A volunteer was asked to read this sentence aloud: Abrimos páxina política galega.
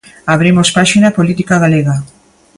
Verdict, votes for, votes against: accepted, 2, 0